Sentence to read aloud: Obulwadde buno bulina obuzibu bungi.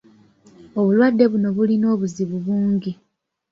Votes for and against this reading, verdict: 1, 2, rejected